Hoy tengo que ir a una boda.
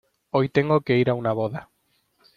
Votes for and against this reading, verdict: 2, 0, accepted